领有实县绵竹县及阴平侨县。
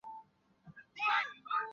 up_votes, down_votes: 0, 2